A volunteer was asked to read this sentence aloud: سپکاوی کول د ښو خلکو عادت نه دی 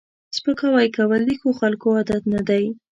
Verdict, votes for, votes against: accepted, 2, 0